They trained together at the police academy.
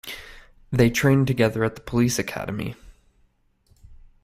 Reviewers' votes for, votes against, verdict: 2, 0, accepted